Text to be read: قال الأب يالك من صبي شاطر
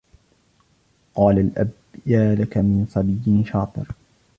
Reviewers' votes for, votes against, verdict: 2, 0, accepted